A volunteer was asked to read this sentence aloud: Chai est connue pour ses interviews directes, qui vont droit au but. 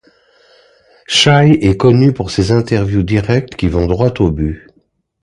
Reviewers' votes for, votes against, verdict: 2, 0, accepted